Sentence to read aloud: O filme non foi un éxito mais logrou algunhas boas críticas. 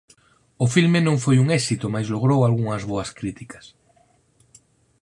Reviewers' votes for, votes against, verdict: 4, 0, accepted